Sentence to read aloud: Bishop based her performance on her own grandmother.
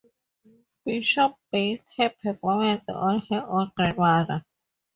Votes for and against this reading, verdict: 2, 0, accepted